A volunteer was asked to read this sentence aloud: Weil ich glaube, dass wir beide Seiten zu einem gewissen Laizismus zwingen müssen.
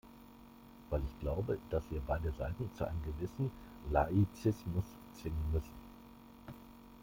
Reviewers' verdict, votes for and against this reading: rejected, 1, 2